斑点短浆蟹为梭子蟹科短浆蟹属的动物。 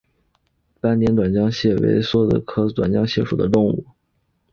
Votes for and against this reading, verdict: 1, 3, rejected